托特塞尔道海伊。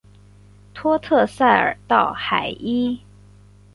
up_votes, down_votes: 4, 0